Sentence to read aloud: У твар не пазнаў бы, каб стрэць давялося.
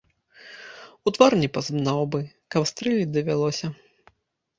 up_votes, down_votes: 0, 2